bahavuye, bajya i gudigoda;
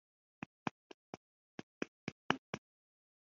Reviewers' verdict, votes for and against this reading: rejected, 0, 2